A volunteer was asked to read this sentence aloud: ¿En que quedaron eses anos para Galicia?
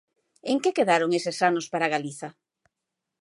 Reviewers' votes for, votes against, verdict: 1, 2, rejected